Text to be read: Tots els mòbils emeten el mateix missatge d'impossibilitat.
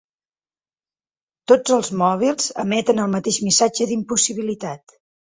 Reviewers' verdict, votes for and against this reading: accepted, 6, 0